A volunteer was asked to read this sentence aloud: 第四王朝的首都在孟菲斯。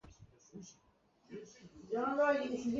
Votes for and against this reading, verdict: 0, 3, rejected